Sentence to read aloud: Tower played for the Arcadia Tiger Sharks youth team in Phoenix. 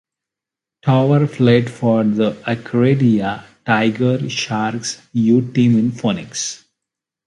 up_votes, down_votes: 0, 2